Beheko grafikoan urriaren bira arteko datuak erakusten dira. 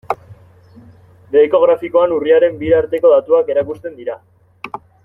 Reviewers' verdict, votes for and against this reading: accepted, 2, 0